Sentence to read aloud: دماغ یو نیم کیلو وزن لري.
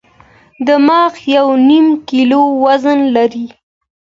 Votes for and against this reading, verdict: 2, 0, accepted